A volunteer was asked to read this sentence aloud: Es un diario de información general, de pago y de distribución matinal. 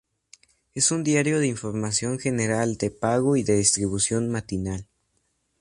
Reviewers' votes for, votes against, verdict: 4, 0, accepted